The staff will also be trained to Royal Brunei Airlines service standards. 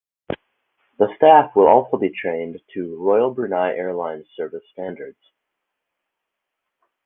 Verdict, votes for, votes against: accepted, 4, 0